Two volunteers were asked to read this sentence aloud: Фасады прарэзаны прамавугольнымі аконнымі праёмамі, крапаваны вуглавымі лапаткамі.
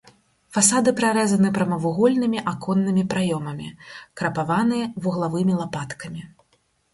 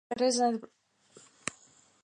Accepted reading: first